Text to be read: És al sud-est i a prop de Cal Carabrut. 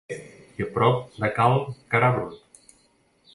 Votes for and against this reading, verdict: 1, 2, rejected